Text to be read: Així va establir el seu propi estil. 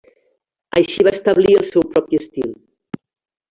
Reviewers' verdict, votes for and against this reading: accepted, 3, 0